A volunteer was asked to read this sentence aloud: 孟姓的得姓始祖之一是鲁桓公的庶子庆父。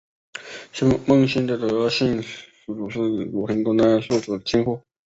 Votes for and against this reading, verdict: 0, 2, rejected